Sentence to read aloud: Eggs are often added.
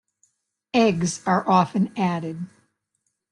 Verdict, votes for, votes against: accepted, 2, 0